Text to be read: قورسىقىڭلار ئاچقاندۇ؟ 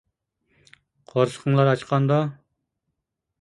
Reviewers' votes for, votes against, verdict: 2, 0, accepted